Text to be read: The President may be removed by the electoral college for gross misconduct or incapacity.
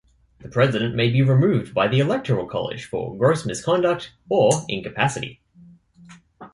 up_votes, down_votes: 2, 0